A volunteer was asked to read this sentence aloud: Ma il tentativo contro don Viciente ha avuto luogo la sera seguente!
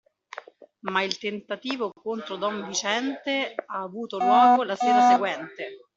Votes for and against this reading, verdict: 0, 2, rejected